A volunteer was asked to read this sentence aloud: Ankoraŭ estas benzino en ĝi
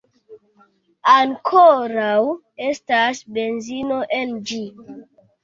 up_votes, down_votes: 2, 0